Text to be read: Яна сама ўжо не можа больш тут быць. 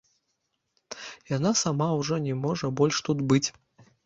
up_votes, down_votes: 0, 2